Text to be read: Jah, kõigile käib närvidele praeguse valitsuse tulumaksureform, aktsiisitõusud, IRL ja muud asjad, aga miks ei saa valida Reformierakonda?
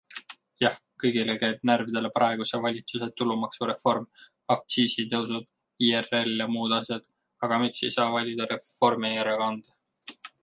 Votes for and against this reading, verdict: 2, 1, accepted